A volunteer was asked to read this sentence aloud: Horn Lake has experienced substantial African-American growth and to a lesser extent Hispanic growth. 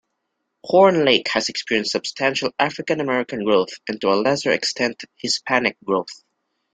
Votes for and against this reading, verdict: 2, 0, accepted